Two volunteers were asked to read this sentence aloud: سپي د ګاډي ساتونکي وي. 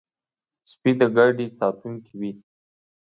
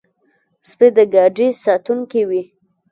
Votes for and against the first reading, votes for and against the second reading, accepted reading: 2, 1, 0, 2, first